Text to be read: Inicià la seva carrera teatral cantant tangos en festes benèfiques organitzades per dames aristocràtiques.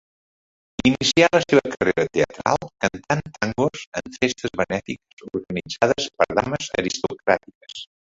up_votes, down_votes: 1, 2